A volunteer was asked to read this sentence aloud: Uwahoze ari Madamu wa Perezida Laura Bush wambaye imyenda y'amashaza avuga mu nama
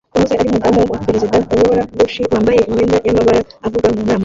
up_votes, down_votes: 1, 2